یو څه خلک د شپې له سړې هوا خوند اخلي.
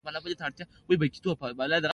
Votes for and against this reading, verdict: 1, 2, rejected